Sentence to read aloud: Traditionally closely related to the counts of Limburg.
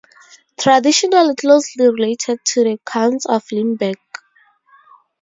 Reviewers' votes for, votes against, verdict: 0, 2, rejected